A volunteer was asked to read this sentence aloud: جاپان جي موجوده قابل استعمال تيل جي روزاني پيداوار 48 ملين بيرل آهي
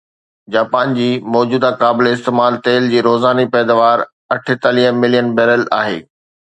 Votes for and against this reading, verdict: 0, 2, rejected